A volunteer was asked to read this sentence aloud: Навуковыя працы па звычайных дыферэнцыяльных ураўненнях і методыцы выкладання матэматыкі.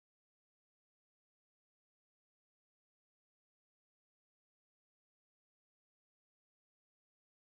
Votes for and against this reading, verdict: 0, 2, rejected